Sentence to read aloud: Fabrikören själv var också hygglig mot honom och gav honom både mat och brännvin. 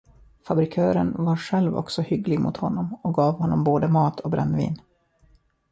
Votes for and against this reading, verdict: 0, 2, rejected